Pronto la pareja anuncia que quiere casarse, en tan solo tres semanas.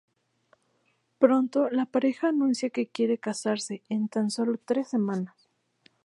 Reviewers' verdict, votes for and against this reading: accepted, 2, 0